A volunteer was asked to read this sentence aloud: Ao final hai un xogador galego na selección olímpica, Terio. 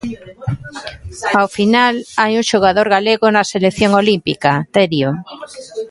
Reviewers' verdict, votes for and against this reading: rejected, 1, 2